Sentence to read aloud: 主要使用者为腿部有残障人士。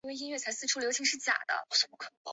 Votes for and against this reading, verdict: 0, 4, rejected